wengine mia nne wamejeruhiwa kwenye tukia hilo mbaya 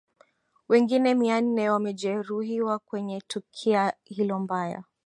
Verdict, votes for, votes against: accepted, 2, 0